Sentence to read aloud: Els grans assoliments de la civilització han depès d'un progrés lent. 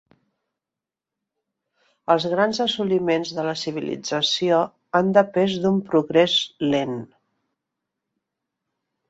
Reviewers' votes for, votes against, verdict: 2, 0, accepted